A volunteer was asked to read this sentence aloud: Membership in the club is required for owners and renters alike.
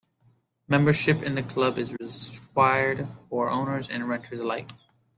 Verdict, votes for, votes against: rejected, 0, 2